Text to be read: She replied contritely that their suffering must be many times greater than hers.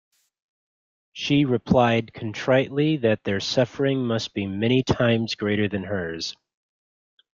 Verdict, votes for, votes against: rejected, 1, 2